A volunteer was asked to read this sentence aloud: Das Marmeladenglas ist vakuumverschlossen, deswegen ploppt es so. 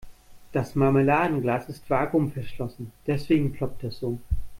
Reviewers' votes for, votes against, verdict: 2, 0, accepted